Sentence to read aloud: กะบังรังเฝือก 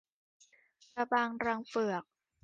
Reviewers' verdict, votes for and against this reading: accepted, 2, 0